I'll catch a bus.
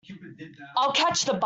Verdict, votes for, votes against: rejected, 0, 2